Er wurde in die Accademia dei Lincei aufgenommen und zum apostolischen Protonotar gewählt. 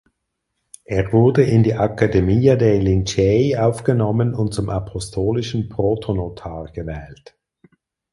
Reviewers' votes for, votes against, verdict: 4, 0, accepted